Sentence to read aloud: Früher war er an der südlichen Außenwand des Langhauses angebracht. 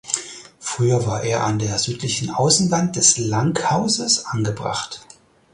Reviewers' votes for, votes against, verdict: 4, 0, accepted